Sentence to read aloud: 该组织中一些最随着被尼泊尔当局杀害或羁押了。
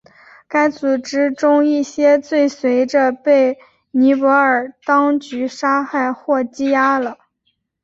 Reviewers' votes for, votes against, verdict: 2, 0, accepted